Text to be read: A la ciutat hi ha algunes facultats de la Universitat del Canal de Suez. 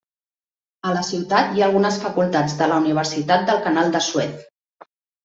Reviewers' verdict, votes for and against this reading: accepted, 3, 0